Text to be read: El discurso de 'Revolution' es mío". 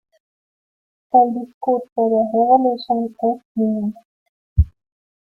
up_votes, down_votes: 1, 2